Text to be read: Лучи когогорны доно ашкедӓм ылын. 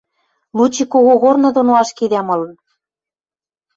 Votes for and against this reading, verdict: 0, 2, rejected